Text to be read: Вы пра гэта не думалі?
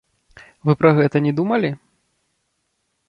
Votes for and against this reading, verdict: 0, 2, rejected